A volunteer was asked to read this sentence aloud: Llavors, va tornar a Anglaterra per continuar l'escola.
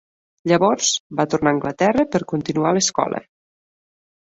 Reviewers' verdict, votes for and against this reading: accepted, 4, 0